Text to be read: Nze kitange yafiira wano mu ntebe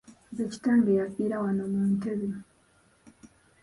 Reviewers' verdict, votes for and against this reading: rejected, 0, 2